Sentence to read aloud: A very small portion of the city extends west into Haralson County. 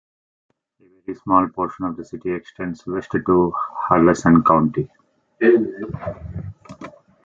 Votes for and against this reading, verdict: 0, 2, rejected